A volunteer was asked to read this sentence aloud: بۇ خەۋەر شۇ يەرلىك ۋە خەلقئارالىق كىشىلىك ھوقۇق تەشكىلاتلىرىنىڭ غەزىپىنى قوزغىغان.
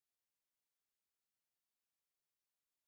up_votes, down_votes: 1, 2